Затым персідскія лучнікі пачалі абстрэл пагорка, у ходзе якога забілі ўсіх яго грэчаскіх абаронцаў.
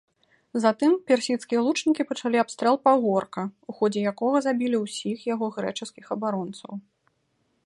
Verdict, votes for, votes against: accepted, 2, 0